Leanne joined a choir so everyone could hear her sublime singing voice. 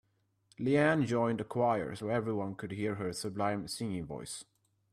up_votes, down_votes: 2, 0